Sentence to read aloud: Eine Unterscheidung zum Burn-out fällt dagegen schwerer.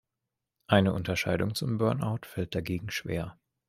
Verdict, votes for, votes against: rejected, 1, 2